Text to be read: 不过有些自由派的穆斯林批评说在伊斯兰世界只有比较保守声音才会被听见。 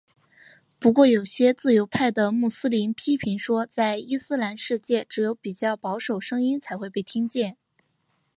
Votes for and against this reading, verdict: 1, 2, rejected